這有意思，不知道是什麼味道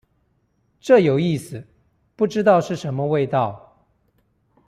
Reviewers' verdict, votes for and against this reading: accepted, 2, 0